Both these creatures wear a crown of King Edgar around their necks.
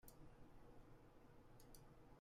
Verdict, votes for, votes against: rejected, 0, 2